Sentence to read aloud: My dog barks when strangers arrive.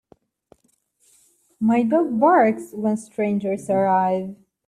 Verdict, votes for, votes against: accepted, 2, 1